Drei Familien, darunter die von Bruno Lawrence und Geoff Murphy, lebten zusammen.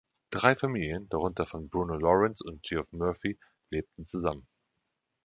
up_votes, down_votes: 1, 3